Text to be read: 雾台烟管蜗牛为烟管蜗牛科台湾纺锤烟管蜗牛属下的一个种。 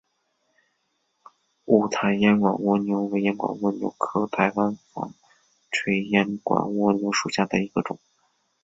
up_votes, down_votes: 1, 2